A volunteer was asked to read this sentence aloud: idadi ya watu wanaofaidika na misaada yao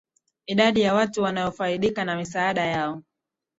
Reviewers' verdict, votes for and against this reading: rejected, 0, 2